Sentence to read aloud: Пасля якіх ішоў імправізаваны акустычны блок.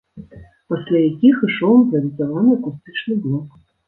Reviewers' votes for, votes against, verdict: 0, 2, rejected